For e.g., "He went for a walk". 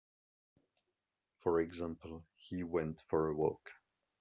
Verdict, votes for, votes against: rejected, 0, 2